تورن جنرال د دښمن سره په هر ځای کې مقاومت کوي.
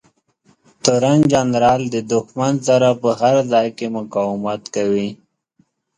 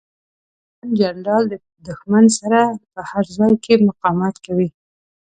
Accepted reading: first